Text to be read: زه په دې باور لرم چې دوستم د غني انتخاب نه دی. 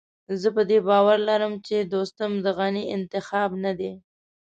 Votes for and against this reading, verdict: 2, 0, accepted